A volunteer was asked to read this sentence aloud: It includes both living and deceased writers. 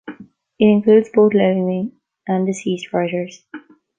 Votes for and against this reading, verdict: 1, 2, rejected